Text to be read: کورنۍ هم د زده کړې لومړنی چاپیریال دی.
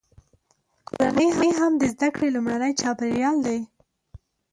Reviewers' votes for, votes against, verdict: 2, 0, accepted